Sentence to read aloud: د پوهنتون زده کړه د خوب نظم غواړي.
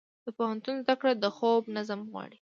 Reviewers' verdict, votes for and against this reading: accepted, 2, 1